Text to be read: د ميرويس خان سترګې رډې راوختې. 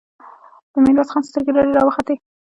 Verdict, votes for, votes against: rejected, 1, 2